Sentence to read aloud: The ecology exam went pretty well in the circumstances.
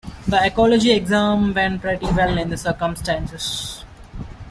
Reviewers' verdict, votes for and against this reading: accepted, 2, 1